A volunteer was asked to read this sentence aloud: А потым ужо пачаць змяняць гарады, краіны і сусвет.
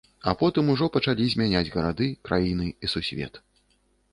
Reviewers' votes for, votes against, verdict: 0, 2, rejected